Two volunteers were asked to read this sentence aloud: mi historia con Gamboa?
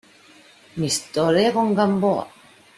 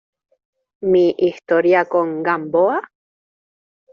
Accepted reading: second